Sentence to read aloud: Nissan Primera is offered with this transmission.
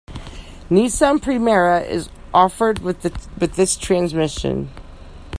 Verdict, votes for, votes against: rejected, 0, 2